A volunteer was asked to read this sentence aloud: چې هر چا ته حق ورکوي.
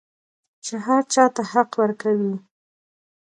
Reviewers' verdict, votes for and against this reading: rejected, 0, 2